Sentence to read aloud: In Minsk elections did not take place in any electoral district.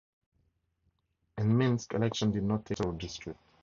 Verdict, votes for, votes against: rejected, 0, 4